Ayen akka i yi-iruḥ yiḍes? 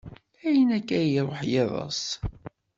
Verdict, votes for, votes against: accepted, 2, 0